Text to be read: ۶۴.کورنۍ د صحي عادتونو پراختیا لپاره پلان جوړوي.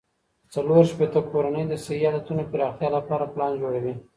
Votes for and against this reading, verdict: 0, 2, rejected